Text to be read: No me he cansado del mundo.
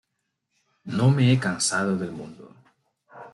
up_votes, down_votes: 2, 0